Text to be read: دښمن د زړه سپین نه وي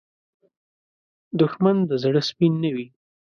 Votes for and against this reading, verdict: 2, 0, accepted